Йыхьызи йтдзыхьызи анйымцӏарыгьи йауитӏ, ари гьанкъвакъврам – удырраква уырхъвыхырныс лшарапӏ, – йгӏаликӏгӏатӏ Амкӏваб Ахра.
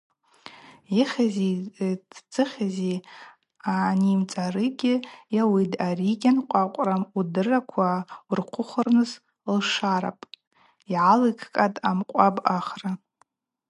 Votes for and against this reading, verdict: 2, 2, rejected